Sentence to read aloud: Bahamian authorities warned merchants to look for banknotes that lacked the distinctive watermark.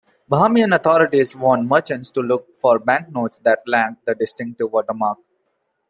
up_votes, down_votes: 0, 2